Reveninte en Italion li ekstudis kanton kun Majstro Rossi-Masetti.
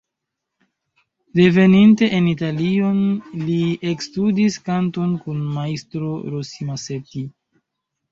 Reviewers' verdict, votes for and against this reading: accepted, 2, 1